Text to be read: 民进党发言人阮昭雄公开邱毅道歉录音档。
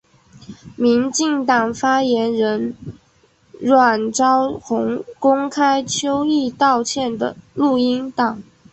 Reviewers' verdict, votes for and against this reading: rejected, 1, 2